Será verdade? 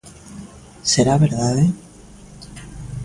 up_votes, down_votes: 2, 0